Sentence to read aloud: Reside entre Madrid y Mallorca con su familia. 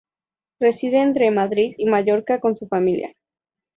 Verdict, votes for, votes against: accepted, 2, 0